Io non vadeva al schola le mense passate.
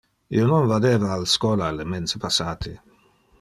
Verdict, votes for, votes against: accepted, 2, 0